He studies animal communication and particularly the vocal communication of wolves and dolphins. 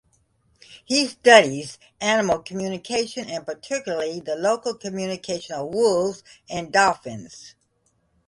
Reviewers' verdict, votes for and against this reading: rejected, 1, 2